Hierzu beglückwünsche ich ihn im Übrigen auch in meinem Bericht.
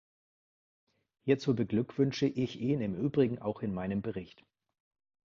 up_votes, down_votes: 2, 0